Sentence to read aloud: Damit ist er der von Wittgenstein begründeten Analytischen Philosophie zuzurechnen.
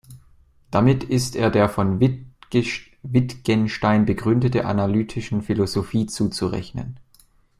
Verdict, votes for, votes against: rejected, 0, 2